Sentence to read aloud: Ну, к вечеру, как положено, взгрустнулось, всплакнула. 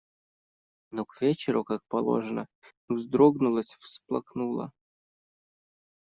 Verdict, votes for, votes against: rejected, 1, 2